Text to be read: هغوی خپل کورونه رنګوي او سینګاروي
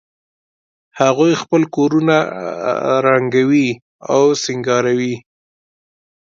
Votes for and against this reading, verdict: 2, 0, accepted